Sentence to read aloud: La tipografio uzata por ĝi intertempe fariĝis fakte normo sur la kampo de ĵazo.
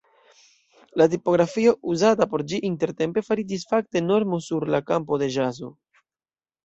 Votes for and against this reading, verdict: 2, 0, accepted